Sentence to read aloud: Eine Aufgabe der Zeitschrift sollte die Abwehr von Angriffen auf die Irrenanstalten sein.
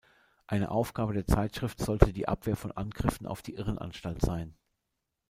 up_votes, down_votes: 0, 2